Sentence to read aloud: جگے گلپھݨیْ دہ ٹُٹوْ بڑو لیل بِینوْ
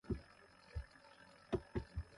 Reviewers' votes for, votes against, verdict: 0, 2, rejected